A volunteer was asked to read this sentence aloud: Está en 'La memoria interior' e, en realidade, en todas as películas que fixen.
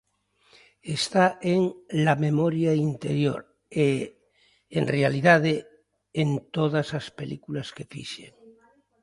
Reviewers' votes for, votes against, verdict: 1, 2, rejected